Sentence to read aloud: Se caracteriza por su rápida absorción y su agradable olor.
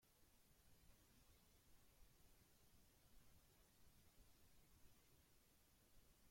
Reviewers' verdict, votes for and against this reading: rejected, 0, 2